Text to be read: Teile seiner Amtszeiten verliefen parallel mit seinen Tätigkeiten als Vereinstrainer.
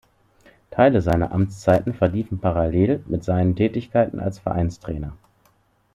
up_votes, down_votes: 2, 0